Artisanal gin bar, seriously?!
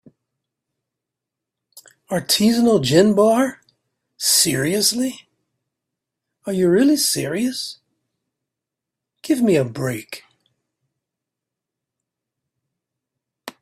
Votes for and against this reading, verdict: 0, 2, rejected